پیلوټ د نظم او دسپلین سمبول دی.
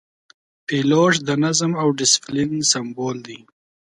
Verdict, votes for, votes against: accepted, 6, 1